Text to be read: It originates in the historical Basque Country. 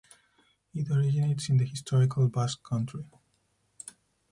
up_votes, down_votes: 2, 4